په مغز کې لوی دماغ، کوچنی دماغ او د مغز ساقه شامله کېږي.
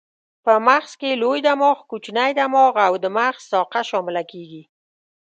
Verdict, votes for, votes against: accepted, 2, 0